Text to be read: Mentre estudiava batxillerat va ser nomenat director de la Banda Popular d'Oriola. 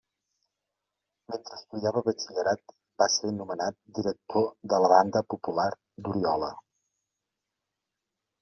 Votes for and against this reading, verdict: 2, 0, accepted